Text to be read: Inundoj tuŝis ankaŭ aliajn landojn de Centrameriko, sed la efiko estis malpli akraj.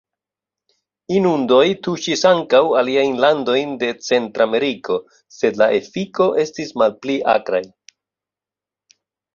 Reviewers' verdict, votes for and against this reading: rejected, 0, 2